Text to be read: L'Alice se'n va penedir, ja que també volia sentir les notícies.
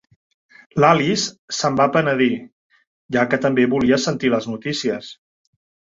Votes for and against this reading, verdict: 1, 2, rejected